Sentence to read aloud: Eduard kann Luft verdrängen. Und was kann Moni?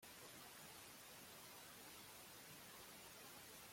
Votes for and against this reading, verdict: 0, 2, rejected